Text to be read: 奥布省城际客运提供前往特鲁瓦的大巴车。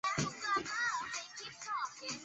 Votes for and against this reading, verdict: 0, 2, rejected